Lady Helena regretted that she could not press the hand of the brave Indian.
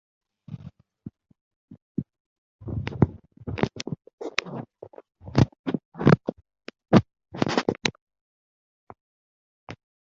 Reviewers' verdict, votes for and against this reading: rejected, 0, 2